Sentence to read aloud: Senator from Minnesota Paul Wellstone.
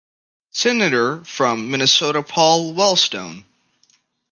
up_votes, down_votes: 2, 0